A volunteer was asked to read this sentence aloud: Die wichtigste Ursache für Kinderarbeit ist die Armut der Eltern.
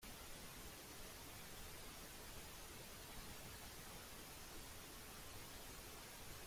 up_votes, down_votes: 0, 2